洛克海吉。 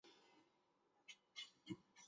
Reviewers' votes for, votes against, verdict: 1, 3, rejected